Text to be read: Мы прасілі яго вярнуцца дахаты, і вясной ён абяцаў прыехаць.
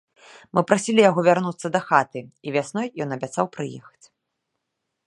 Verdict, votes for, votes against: accepted, 2, 0